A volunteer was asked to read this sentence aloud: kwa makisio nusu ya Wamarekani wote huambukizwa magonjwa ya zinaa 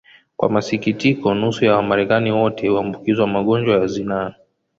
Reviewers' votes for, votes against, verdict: 1, 2, rejected